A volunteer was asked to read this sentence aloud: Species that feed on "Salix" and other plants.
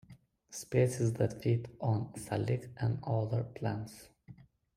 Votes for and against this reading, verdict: 1, 2, rejected